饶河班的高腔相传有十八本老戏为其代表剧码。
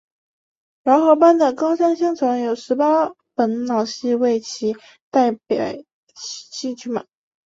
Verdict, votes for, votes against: accepted, 2, 1